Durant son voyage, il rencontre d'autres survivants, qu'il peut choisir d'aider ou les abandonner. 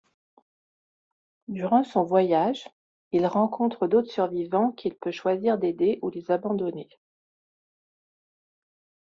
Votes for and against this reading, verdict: 2, 0, accepted